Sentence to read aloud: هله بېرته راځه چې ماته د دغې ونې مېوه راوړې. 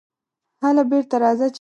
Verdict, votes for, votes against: rejected, 0, 2